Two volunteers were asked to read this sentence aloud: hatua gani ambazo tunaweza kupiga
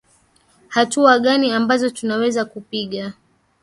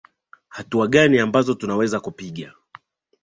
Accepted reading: second